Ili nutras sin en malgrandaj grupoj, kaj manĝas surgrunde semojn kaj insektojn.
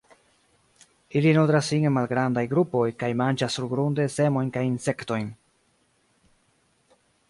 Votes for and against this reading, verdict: 1, 2, rejected